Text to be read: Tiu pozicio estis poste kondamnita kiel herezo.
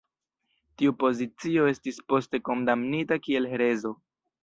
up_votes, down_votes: 1, 2